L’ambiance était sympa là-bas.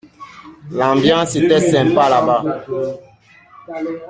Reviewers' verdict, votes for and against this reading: accepted, 2, 0